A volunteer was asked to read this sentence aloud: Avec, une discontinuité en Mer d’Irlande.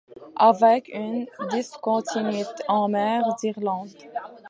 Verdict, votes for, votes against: rejected, 0, 2